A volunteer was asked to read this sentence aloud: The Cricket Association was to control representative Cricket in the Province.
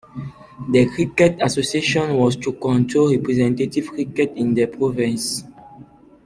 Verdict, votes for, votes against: rejected, 1, 2